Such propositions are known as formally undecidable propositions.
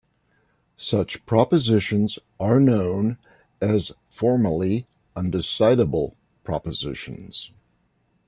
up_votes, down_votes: 2, 0